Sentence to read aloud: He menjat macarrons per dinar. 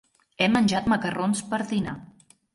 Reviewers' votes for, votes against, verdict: 2, 0, accepted